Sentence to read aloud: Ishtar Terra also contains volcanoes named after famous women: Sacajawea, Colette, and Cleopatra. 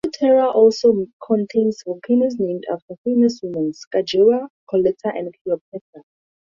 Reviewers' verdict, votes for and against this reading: accepted, 2, 0